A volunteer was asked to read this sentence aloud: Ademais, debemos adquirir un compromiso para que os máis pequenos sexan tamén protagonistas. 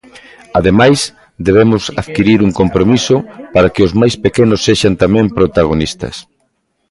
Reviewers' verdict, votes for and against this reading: rejected, 1, 2